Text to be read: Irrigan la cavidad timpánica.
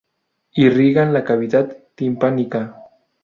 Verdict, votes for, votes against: rejected, 0, 2